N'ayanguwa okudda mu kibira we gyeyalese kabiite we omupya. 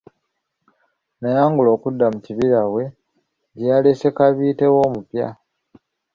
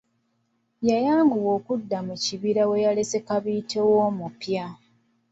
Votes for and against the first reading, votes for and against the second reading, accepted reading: 2, 1, 1, 2, first